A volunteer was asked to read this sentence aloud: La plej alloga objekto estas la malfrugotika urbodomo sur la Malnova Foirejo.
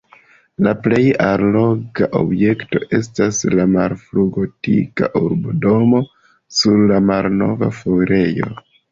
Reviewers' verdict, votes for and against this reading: rejected, 0, 2